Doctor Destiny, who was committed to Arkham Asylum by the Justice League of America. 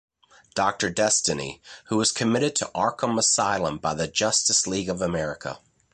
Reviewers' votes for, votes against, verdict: 2, 0, accepted